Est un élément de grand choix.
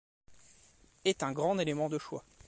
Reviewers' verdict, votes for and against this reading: rejected, 0, 2